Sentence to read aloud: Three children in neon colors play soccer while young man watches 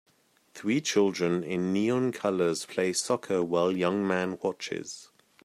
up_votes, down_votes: 2, 0